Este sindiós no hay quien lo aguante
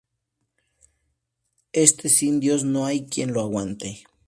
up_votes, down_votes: 2, 0